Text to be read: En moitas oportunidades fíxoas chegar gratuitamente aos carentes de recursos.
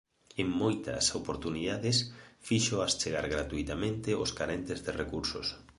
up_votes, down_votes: 2, 0